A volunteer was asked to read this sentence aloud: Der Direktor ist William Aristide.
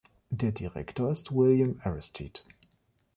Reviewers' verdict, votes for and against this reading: accepted, 2, 0